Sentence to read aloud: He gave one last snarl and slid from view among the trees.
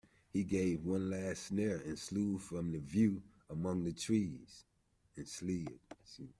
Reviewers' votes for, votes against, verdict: 1, 2, rejected